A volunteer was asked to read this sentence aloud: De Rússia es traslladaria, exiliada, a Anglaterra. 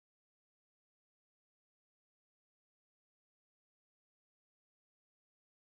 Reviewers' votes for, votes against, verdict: 0, 2, rejected